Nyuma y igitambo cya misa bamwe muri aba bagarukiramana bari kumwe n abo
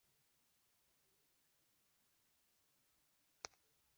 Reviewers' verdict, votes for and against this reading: rejected, 1, 3